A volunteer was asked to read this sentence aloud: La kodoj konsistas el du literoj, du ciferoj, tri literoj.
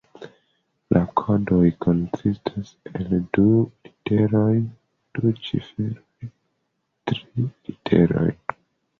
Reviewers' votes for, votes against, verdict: 2, 0, accepted